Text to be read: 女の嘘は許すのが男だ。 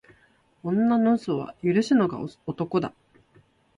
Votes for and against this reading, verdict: 2, 0, accepted